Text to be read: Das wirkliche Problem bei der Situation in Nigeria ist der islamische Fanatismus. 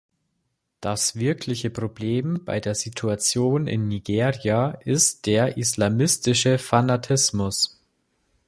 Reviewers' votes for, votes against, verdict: 0, 3, rejected